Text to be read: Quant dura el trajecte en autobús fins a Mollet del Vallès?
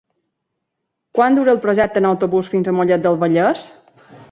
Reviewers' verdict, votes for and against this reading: rejected, 0, 2